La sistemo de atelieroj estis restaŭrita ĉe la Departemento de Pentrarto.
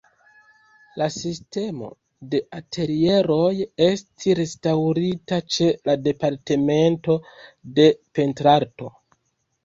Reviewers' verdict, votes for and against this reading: rejected, 1, 2